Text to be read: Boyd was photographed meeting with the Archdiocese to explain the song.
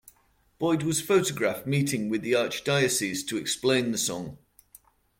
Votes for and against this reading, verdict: 2, 0, accepted